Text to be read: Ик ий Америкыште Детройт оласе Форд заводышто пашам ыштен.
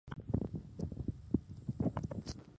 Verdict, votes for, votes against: rejected, 0, 2